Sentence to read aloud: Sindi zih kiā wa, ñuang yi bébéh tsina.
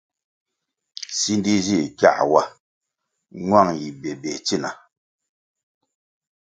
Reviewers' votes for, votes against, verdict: 2, 0, accepted